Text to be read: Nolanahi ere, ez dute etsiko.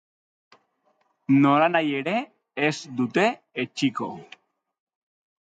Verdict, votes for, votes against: accepted, 2, 0